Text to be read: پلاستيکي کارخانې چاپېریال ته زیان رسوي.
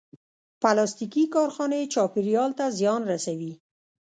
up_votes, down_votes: 0, 2